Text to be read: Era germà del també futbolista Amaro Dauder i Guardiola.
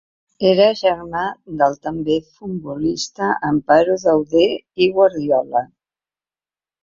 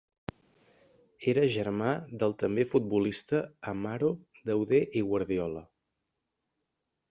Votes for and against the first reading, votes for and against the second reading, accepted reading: 1, 2, 2, 0, second